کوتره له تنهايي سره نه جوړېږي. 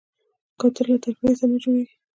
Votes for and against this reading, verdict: 1, 2, rejected